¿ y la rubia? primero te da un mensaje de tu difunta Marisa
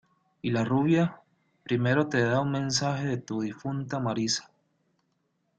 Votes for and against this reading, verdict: 2, 0, accepted